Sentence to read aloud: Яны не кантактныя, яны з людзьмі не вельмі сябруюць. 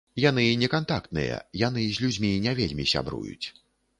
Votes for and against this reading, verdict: 2, 0, accepted